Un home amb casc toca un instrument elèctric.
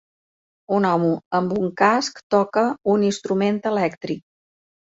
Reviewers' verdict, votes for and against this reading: rejected, 0, 2